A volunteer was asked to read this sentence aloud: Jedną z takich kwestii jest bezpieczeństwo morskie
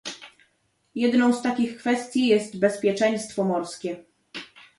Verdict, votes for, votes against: accepted, 2, 0